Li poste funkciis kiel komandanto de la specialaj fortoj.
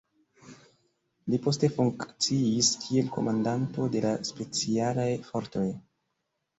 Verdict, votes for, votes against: accepted, 2, 0